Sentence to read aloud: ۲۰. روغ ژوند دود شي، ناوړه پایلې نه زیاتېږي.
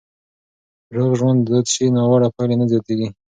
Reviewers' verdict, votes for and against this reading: rejected, 0, 2